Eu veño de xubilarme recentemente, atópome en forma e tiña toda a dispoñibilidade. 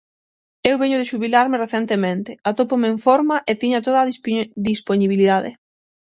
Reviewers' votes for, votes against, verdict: 0, 6, rejected